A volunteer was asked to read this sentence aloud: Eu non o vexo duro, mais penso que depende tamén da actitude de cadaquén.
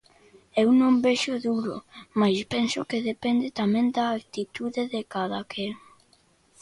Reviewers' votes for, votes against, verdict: 0, 2, rejected